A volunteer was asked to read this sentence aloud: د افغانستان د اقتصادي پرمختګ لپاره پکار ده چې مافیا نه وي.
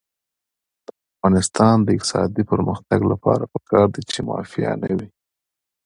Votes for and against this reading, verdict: 2, 0, accepted